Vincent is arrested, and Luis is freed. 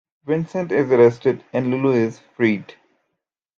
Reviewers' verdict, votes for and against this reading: rejected, 1, 2